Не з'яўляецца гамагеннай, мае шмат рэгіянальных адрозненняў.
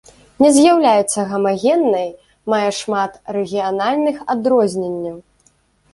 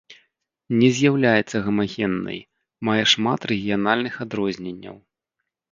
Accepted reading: second